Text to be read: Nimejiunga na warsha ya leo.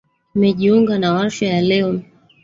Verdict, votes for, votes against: rejected, 1, 2